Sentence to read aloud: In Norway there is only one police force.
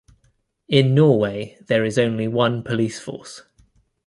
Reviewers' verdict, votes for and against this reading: accepted, 2, 0